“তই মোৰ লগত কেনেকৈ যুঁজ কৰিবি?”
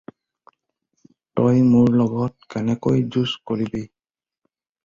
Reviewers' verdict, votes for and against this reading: rejected, 0, 2